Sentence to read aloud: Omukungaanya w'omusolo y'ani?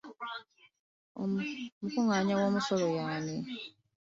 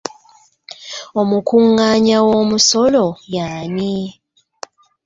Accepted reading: second